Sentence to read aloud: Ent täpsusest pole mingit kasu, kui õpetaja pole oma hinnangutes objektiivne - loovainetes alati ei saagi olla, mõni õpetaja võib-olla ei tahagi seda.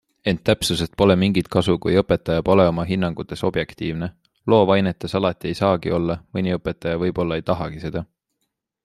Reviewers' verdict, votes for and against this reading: accepted, 2, 0